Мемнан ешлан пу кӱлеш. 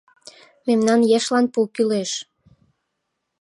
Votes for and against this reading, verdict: 2, 0, accepted